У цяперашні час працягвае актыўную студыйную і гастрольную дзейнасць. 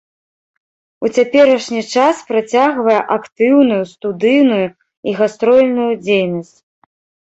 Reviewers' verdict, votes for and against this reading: accepted, 2, 0